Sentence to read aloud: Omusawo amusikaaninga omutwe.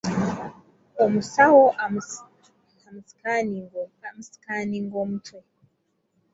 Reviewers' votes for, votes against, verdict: 0, 2, rejected